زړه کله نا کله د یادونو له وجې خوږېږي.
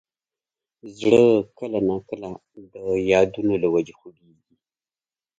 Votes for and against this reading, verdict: 2, 0, accepted